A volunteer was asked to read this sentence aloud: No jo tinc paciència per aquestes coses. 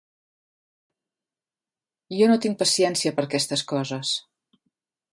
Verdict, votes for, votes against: rejected, 2, 3